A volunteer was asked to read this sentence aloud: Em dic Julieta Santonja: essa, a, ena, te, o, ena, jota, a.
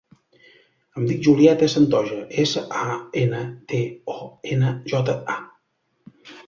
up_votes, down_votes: 2, 3